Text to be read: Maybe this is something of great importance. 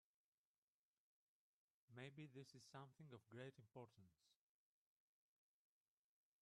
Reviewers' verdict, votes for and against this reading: rejected, 0, 2